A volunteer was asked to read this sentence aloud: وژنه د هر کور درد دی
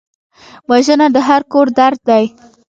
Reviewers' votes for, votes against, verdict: 2, 0, accepted